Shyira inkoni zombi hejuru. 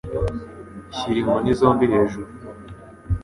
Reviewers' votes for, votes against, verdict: 3, 0, accepted